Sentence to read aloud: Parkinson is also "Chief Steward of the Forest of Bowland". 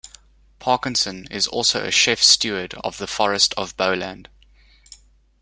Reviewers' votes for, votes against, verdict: 0, 2, rejected